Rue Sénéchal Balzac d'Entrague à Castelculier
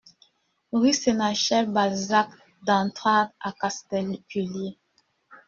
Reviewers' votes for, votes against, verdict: 0, 2, rejected